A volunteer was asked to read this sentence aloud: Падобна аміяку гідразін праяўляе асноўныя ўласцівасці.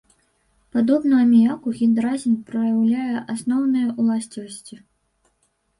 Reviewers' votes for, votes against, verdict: 0, 2, rejected